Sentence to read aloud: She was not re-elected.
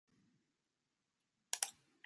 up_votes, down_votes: 0, 2